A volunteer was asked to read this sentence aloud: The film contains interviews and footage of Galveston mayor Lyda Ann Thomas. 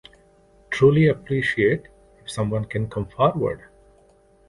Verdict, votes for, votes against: rejected, 1, 2